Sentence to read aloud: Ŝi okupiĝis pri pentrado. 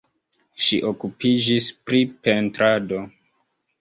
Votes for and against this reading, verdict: 0, 2, rejected